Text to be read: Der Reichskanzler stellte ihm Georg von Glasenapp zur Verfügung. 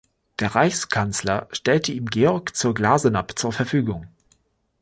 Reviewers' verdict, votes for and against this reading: rejected, 0, 4